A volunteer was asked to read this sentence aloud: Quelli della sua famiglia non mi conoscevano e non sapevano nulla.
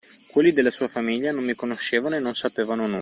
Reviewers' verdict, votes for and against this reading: rejected, 0, 2